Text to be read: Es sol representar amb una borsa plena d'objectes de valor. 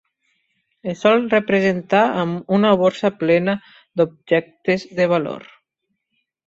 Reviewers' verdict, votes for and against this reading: rejected, 1, 2